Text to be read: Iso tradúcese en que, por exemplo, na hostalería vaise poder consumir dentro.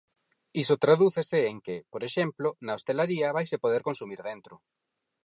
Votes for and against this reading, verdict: 0, 4, rejected